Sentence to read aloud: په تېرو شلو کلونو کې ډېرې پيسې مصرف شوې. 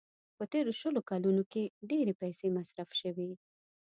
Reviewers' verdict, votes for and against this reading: accepted, 2, 0